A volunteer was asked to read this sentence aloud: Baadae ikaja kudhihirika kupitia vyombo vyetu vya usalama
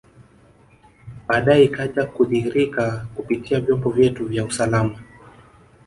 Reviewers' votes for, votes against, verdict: 0, 2, rejected